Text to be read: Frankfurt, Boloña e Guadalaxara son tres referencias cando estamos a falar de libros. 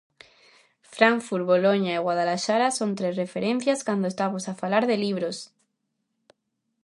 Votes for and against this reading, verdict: 2, 0, accepted